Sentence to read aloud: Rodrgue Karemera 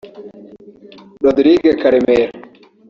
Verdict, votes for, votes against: rejected, 1, 2